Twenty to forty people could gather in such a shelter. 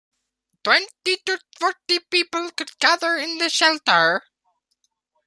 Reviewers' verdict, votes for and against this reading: rejected, 0, 2